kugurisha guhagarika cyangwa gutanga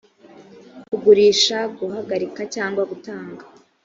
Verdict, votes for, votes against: accepted, 3, 0